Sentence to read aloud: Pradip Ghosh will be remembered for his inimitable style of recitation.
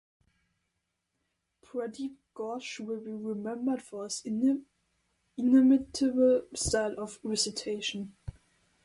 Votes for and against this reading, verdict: 1, 2, rejected